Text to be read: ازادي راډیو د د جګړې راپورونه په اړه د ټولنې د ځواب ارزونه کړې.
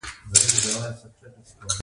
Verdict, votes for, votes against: accepted, 2, 1